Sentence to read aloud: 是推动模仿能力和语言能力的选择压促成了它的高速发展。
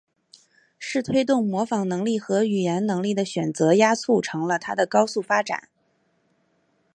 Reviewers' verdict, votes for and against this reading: accepted, 2, 0